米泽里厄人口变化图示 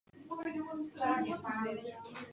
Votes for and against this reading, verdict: 1, 2, rejected